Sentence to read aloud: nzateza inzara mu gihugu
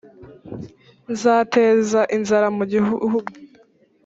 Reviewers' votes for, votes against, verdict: 2, 3, rejected